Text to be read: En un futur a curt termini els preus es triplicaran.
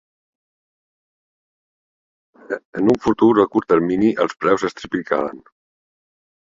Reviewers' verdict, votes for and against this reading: rejected, 0, 2